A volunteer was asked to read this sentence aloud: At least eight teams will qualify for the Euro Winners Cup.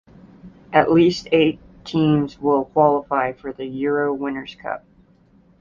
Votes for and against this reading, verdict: 2, 0, accepted